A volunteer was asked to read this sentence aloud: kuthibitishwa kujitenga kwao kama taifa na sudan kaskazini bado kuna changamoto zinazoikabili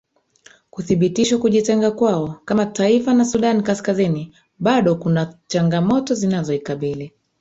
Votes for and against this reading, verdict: 0, 2, rejected